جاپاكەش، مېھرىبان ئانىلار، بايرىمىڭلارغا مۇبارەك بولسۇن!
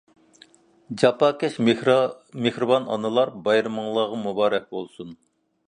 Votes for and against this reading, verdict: 1, 2, rejected